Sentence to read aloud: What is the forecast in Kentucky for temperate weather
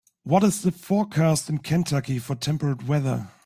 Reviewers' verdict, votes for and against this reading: accepted, 2, 0